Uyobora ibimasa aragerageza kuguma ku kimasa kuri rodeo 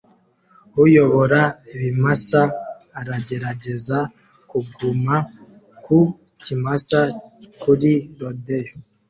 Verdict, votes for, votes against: accepted, 2, 0